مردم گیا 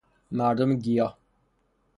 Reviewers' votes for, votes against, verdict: 0, 3, rejected